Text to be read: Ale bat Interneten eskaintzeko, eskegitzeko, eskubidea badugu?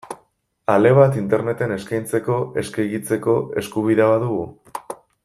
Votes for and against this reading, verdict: 2, 0, accepted